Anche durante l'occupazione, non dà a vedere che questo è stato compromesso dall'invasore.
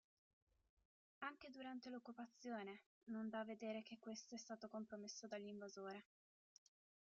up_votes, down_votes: 0, 2